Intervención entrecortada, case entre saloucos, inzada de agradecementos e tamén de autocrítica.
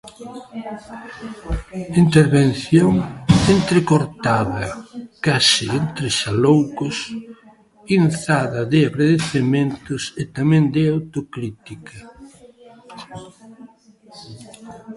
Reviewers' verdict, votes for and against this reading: rejected, 1, 2